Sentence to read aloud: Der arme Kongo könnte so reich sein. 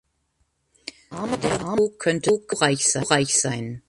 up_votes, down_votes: 0, 2